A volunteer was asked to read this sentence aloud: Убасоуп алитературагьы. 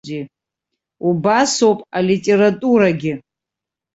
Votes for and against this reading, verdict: 2, 3, rejected